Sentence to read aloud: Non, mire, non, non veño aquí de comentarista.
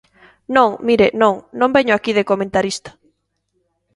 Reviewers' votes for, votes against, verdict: 2, 0, accepted